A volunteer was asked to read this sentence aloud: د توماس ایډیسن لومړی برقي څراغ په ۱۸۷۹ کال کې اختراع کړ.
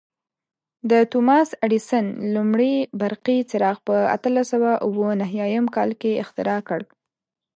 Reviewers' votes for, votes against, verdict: 0, 2, rejected